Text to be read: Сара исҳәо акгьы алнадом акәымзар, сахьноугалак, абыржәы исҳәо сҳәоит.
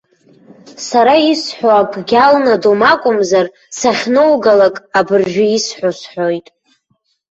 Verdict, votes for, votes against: rejected, 1, 2